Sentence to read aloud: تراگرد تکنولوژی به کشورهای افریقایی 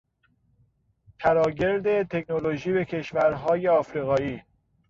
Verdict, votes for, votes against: rejected, 1, 2